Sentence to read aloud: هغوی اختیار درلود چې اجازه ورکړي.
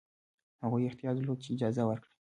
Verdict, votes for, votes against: accepted, 2, 1